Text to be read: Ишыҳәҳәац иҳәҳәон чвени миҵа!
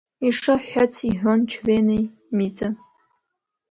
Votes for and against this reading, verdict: 1, 2, rejected